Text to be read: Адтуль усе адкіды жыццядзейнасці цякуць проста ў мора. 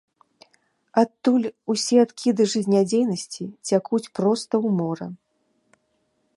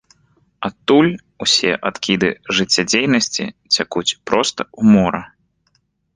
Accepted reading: second